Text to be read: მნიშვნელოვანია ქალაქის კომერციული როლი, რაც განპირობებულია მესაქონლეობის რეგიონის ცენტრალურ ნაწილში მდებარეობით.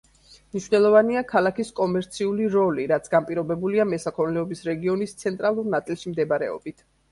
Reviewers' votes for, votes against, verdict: 2, 0, accepted